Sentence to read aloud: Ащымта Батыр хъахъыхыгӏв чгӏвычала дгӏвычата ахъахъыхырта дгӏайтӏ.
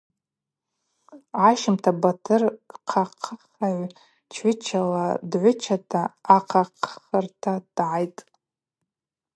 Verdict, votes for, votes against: accepted, 2, 0